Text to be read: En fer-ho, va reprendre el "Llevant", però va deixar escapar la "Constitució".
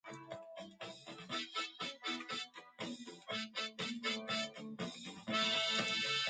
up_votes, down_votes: 0, 2